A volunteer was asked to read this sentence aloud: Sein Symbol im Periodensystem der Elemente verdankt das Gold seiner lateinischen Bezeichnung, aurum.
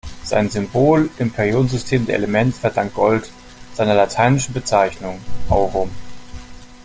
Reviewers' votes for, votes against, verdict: 2, 1, accepted